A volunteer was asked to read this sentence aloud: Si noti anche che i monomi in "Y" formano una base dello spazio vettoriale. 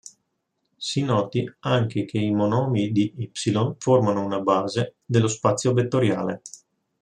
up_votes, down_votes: 1, 2